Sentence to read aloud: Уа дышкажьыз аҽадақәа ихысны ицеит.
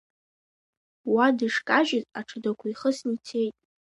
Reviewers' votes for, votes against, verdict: 2, 0, accepted